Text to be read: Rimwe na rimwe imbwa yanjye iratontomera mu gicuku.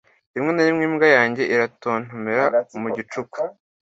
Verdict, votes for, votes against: accepted, 2, 0